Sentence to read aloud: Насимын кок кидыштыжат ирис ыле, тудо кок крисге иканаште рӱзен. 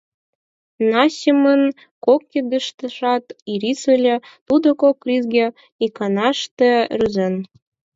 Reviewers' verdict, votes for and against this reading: accepted, 4, 2